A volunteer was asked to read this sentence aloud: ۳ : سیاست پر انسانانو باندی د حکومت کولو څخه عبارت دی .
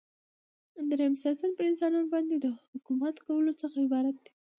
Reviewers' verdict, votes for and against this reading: rejected, 0, 2